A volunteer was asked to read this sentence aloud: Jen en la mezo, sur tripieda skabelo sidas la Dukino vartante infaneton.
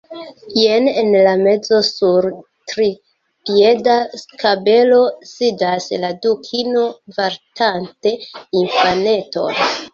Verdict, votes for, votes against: rejected, 1, 2